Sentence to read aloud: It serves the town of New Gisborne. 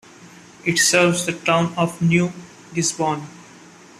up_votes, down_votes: 1, 2